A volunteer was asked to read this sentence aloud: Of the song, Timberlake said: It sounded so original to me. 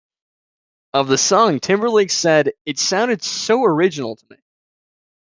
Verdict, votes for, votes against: rejected, 1, 2